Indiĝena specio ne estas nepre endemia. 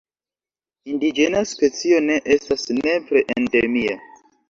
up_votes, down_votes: 0, 2